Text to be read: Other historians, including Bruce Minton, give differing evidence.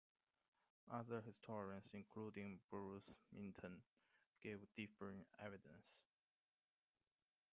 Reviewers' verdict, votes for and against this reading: rejected, 0, 2